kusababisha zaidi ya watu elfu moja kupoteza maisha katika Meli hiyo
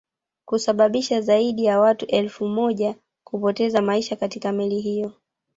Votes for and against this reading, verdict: 1, 2, rejected